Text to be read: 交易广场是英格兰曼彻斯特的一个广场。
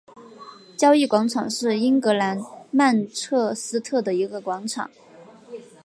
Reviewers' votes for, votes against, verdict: 4, 0, accepted